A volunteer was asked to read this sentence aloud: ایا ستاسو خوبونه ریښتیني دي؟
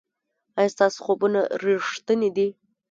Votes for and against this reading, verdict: 2, 1, accepted